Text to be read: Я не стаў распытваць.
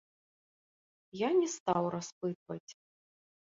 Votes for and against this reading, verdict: 1, 2, rejected